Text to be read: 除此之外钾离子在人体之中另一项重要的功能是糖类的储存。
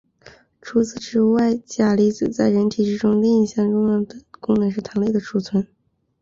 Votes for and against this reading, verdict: 1, 2, rejected